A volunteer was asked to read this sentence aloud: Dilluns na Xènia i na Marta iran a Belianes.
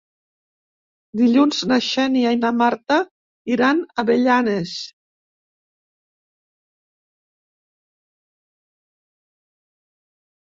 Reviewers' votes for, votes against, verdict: 0, 2, rejected